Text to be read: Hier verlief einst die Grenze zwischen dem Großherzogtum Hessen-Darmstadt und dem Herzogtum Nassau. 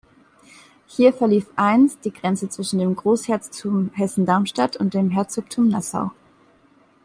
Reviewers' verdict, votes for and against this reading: rejected, 1, 2